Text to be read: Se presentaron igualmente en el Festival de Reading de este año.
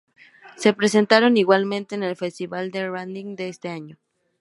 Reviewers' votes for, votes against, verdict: 2, 4, rejected